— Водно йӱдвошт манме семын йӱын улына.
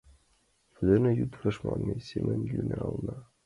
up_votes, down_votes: 0, 2